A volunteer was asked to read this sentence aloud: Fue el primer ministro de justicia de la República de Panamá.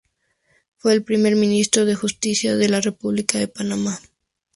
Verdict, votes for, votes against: accepted, 2, 0